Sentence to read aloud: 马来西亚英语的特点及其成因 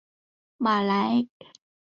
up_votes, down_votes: 1, 3